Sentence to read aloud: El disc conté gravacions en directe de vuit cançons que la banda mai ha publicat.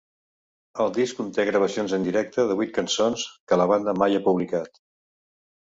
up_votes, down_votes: 2, 0